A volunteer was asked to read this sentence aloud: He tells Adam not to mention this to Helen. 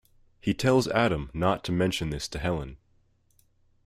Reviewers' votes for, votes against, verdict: 3, 0, accepted